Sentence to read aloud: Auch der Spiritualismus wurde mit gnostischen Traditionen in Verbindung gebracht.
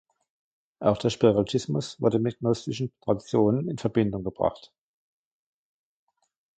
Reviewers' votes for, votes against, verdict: 0, 2, rejected